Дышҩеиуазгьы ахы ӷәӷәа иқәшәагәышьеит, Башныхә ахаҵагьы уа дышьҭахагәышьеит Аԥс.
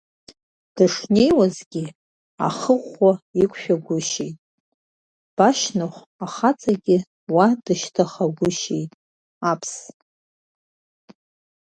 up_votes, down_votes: 0, 2